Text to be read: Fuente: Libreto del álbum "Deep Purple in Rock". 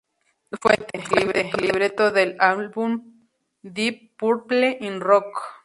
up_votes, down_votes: 2, 2